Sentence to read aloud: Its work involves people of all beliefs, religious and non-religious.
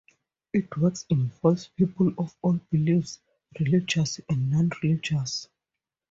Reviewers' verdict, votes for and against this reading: rejected, 4, 4